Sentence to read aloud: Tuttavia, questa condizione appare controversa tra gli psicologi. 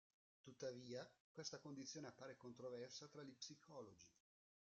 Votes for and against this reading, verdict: 1, 2, rejected